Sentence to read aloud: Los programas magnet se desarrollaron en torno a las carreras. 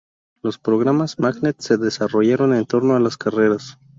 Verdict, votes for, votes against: rejected, 0, 2